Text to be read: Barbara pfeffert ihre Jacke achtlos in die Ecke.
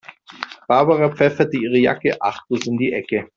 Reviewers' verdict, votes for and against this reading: rejected, 0, 2